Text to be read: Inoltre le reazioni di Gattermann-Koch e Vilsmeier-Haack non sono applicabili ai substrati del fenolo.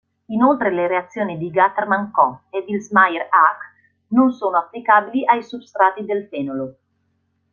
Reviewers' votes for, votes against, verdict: 1, 2, rejected